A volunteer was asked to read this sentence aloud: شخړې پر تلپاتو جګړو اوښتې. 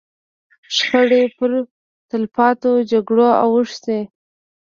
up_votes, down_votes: 1, 2